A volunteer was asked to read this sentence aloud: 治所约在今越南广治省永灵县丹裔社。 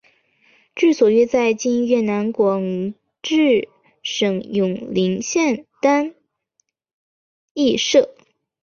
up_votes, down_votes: 2, 0